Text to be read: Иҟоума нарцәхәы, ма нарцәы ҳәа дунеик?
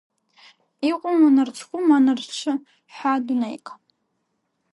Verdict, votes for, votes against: accepted, 2, 1